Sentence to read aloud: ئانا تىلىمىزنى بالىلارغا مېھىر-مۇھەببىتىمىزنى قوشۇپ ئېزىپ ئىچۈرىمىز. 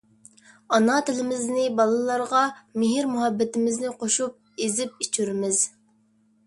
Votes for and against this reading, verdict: 2, 0, accepted